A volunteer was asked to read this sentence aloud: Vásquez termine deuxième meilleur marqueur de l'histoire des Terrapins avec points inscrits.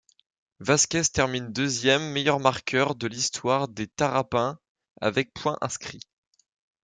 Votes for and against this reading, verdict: 1, 2, rejected